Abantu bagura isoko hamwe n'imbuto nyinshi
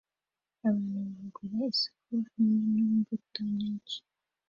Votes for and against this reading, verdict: 2, 1, accepted